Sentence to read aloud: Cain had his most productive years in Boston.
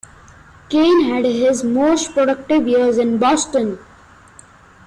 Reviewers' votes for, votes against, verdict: 2, 1, accepted